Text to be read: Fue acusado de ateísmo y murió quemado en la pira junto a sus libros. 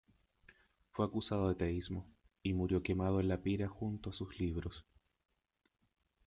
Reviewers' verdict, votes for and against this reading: rejected, 0, 2